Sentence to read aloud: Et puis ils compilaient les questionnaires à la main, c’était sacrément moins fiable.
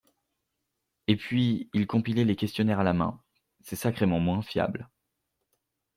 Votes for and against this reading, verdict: 0, 2, rejected